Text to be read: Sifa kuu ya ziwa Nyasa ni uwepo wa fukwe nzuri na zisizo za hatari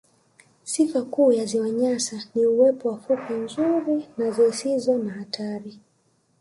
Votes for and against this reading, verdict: 2, 0, accepted